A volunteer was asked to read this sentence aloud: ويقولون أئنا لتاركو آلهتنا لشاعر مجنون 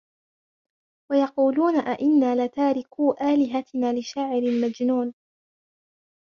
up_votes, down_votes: 0, 2